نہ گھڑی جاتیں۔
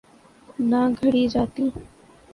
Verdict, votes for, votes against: accepted, 3, 0